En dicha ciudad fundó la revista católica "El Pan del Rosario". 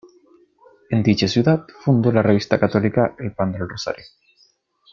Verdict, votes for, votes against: accepted, 2, 0